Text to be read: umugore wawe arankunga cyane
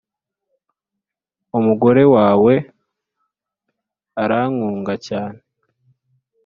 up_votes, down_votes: 2, 0